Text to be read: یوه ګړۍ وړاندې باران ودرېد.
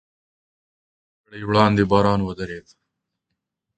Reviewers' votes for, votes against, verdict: 1, 2, rejected